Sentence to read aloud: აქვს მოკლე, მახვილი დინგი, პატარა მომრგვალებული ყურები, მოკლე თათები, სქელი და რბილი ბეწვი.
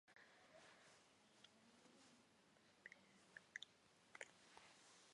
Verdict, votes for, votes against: rejected, 0, 2